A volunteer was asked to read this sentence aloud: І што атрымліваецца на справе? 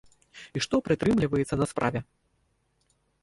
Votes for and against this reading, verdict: 0, 2, rejected